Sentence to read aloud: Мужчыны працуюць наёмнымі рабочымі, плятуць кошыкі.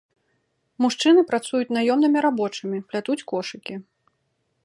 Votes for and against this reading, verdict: 2, 0, accepted